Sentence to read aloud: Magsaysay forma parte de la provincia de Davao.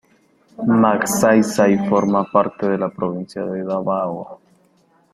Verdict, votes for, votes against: accepted, 2, 1